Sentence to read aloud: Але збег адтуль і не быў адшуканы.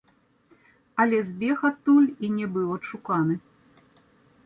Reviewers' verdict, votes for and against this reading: accepted, 2, 0